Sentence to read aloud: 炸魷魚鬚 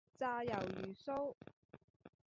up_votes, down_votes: 2, 0